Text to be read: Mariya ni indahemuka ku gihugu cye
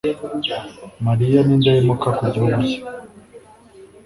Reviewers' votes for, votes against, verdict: 2, 0, accepted